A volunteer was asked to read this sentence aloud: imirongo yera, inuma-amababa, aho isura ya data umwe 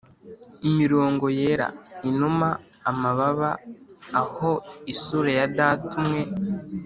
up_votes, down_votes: 2, 0